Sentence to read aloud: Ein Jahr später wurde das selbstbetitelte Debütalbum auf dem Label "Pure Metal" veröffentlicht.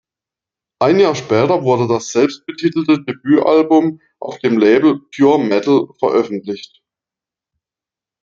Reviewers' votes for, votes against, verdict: 2, 0, accepted